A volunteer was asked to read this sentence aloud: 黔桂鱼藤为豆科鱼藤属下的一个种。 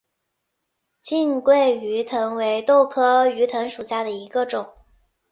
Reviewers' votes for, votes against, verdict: 1, 2, rejected